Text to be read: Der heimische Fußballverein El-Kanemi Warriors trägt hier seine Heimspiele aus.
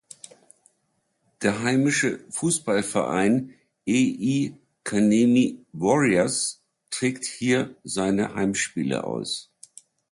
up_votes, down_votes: 0, 2